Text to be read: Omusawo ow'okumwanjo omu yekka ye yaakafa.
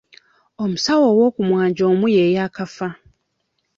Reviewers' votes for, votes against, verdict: 1, 2, rejected